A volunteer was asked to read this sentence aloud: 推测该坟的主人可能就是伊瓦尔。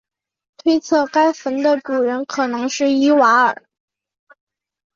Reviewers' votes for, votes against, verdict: 1, 2, rejected